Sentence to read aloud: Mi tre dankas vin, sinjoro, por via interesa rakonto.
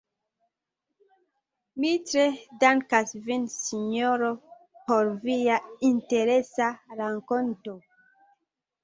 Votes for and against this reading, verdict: 0, 2, rejected